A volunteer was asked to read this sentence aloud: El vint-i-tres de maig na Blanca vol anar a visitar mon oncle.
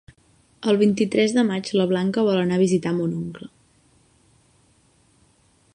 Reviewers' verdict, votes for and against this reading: rejected, 0, 2